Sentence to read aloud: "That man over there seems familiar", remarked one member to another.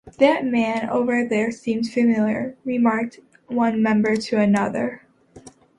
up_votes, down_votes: 2, 0